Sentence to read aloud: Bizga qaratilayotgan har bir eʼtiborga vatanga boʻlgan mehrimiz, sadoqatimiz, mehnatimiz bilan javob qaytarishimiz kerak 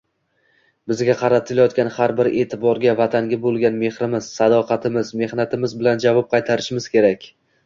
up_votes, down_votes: 2, 0